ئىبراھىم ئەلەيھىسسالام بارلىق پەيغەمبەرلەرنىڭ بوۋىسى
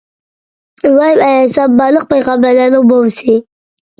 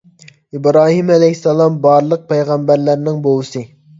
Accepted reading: second